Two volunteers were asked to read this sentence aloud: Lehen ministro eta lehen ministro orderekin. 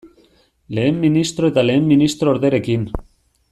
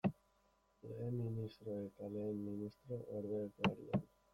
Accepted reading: first